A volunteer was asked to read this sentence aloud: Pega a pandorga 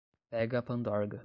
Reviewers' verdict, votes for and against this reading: rejected, 5, 5